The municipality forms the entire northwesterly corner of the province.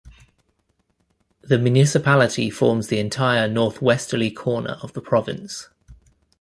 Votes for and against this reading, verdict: 2, 0, accepted